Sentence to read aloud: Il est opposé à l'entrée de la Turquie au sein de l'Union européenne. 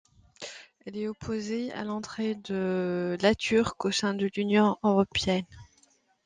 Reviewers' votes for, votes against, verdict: 0, 2, rejected